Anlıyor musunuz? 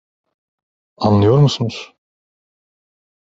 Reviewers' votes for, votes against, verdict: 2, 0, accepted